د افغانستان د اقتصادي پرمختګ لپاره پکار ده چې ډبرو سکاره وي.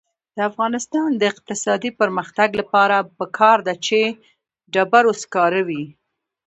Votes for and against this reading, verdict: 2, 0, accepted